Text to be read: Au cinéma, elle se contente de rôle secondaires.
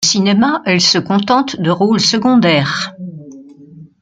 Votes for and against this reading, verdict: 1, 2, rejected